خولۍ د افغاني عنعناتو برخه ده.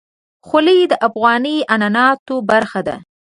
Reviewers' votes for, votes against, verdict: 2, 0, accepted